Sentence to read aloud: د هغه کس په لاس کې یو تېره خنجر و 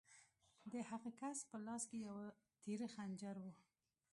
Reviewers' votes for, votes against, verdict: 1, 2, rejected